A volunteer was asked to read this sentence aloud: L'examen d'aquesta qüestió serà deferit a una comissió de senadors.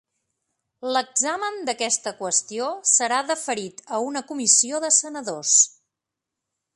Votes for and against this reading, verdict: 3, 0, accepted